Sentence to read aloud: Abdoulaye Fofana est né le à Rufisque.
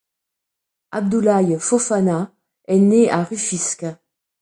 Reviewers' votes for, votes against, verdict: 1, 2, rejected